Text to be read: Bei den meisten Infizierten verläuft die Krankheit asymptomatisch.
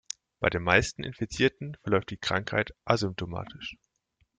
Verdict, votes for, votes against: accepted, 2, 1